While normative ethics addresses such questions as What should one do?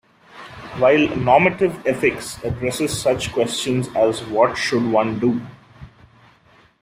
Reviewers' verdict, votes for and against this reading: accepted, 2, 0